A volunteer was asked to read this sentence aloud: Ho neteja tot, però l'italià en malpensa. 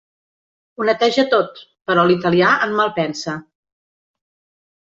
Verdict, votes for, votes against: accepted, 2, 1